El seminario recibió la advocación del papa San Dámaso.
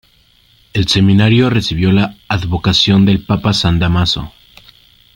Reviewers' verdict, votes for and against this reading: rejected, 1, 2